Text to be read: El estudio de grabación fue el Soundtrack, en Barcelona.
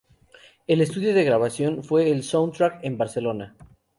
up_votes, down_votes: 0, 2